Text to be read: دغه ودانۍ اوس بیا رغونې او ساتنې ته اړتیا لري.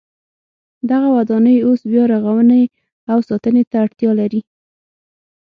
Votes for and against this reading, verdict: 6, 0, accepted